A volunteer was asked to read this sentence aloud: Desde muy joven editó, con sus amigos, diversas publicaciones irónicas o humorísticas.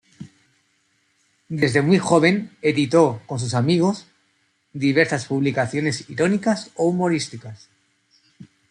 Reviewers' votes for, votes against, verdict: 2, 1, accepted